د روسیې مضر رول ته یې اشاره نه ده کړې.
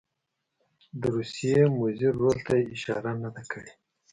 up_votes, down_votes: 2, 0